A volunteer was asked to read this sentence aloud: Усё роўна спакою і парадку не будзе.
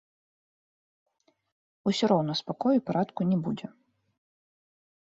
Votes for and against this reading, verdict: 1, 2, rejected